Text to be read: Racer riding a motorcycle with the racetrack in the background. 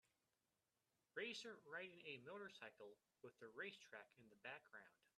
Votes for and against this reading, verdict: 1, 2, rejected